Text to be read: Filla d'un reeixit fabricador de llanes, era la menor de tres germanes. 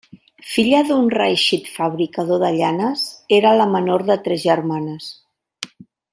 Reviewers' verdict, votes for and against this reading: accepted, 2, 0